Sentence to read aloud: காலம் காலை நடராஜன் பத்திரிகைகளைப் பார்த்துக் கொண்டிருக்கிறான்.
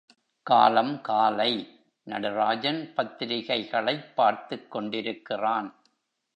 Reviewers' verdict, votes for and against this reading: accepted, 2, 0